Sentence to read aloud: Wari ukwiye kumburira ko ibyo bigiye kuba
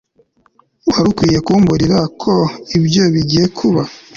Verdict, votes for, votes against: accepted, 2, 0